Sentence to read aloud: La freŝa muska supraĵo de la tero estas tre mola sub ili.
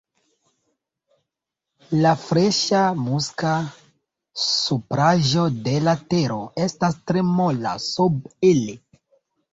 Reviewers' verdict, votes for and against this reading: accepted, 2, 0